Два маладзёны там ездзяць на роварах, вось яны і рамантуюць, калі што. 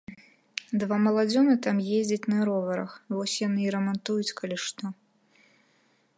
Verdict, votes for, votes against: accepted, 2, 0